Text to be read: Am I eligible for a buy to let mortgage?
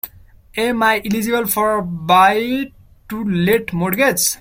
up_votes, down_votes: 0, 2